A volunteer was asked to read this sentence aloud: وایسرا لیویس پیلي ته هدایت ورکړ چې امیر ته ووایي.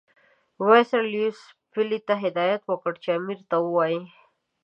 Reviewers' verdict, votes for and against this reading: accepted, 2, 1